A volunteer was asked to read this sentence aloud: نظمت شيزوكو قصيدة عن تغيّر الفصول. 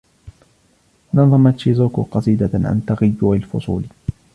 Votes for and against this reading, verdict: 1, 2, rejected